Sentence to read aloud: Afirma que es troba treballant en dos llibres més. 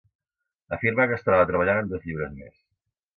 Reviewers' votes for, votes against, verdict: 2, 0, accepted